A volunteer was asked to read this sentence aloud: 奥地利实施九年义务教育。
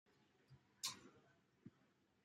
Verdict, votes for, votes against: rejected, 0, 2